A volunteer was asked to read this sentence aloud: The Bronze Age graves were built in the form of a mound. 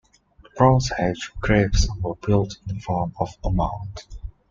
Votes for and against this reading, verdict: 2, 0, accepted